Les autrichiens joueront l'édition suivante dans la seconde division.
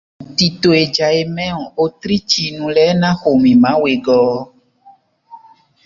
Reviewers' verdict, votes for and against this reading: rejected, 0, 2